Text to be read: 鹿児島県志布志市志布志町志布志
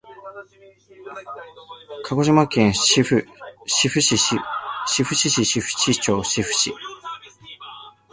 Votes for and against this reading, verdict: 1, 2, rejected